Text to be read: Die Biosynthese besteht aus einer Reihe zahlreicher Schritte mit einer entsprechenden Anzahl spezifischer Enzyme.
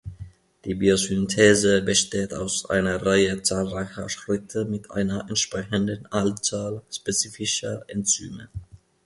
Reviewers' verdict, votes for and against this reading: accepted, 2, 0